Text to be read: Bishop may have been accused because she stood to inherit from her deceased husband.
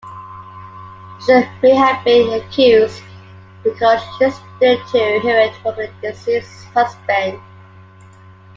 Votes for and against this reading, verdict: 2, 1, accepted